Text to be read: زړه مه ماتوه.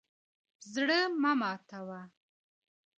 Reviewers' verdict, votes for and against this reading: accepted, 2, 0